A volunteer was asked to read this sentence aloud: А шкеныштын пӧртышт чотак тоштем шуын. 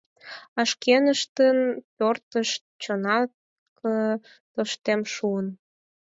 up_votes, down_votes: 0, 4